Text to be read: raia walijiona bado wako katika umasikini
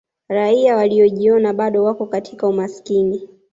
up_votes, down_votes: 2, 0